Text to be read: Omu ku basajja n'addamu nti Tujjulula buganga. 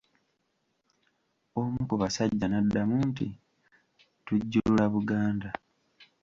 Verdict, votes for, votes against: rejected, 0, 2